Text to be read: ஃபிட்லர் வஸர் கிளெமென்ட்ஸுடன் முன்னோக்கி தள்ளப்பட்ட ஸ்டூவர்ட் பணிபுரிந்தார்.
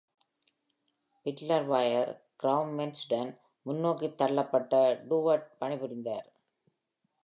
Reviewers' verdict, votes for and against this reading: rejected, 1, 2